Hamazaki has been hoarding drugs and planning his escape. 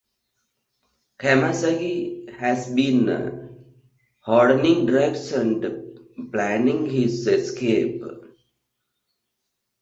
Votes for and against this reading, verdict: 1, 2, rejected